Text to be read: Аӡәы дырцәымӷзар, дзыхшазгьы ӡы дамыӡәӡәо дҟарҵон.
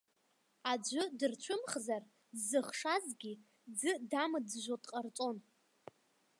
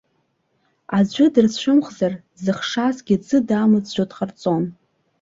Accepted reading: second